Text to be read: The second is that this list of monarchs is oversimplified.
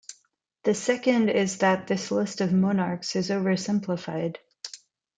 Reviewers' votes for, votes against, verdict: 2, 0, accepted